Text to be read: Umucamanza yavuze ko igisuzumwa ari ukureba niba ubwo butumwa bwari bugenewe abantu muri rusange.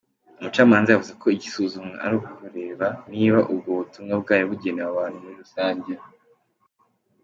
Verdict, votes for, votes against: accepted, 2, 0